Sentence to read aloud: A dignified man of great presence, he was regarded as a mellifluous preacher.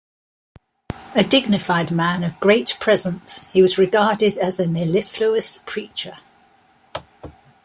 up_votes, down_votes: 2, 0